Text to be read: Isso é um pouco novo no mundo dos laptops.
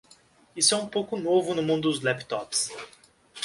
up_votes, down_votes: 1, 2